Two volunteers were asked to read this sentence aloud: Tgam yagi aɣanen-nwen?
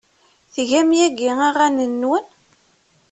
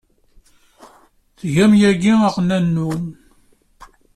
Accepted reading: first